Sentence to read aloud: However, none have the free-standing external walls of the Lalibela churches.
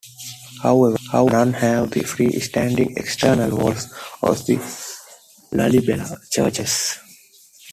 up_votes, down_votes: 0, 2